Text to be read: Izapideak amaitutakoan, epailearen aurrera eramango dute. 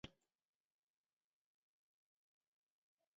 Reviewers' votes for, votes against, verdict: 0, 2, rejected